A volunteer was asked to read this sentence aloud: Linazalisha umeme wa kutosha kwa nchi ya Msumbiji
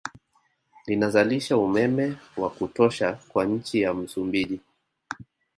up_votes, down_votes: 4, 1